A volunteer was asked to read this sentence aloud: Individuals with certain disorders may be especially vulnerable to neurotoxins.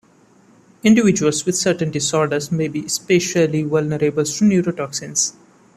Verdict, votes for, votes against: accepted, 2, 0